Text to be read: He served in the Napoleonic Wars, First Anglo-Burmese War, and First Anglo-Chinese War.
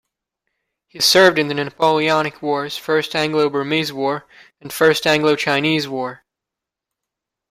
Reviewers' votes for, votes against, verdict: 2, 0, accepted